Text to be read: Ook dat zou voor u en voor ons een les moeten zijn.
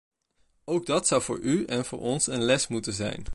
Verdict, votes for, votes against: rejected, 1, 2